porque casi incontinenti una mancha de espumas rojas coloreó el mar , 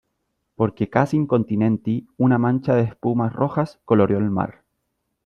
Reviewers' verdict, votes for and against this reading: accepted, 2, 0